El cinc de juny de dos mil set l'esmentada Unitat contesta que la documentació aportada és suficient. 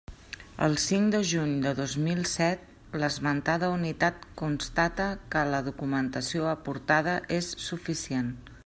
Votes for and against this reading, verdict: 1, 2, rejected